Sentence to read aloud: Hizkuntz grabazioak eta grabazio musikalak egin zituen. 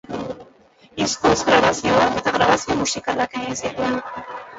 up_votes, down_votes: 0, 2